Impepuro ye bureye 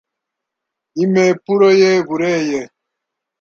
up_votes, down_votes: 1, 2